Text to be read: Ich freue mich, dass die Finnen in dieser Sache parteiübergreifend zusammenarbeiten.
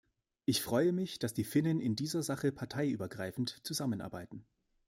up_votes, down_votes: 2, 0